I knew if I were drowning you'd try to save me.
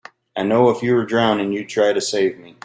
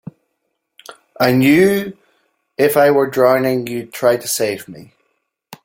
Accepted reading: second